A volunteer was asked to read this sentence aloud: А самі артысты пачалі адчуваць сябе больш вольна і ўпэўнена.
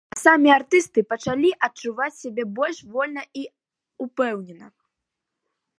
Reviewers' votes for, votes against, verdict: 3, 1, accepted